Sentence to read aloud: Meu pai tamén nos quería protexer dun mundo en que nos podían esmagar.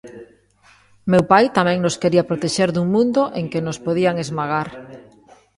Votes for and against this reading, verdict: 2, 0, accepted